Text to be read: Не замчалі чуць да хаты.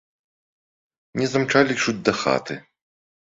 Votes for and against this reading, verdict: 2, 0, accepted